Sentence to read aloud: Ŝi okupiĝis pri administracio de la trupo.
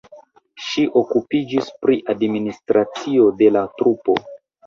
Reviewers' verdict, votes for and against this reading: accepted, 2, 0